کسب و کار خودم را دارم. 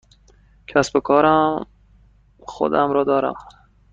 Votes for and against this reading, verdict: 0, 2, rejected